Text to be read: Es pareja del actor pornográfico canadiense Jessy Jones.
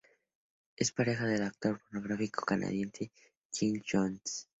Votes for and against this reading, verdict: 2, 0, accepted